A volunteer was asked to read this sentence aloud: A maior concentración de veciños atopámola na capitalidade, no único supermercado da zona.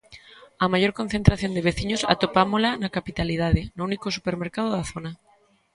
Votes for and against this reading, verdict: 5, 1, accepted